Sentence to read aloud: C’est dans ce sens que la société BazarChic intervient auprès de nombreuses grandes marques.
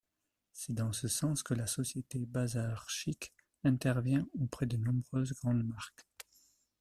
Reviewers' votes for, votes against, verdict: 2, 0, accepted